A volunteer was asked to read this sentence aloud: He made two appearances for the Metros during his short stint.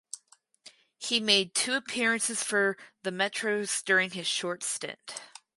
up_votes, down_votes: 2, 2